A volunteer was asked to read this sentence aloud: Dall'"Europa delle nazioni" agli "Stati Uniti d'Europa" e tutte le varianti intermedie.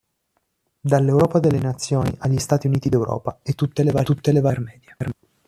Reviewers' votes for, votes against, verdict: 1, 3, rejected